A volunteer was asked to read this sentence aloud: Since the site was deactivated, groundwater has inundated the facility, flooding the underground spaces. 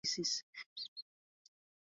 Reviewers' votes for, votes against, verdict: 0, 2, rejected